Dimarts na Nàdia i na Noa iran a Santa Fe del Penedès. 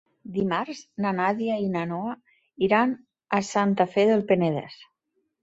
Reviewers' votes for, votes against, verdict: 3, 0, accepted